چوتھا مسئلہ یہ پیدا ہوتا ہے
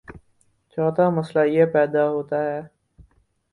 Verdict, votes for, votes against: accepted, 4, 0